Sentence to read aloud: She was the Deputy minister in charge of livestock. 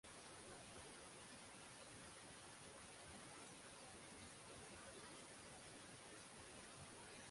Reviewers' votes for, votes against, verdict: 0, 6, rejected